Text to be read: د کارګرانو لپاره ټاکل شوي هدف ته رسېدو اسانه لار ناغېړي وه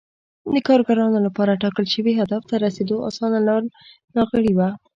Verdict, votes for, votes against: accepted, 2, 0